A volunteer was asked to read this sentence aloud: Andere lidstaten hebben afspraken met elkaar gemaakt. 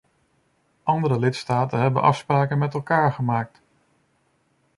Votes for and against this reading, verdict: 2, 0, accepted